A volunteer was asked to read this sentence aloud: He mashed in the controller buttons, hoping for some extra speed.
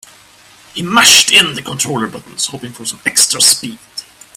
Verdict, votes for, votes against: rejected, 1, 2